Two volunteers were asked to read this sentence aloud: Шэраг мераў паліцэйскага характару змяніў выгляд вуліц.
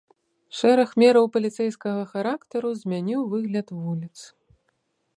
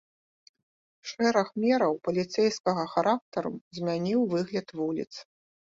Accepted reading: first